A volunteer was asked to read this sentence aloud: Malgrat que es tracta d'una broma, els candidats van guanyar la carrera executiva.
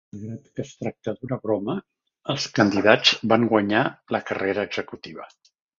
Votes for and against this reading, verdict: 2, 3, rejected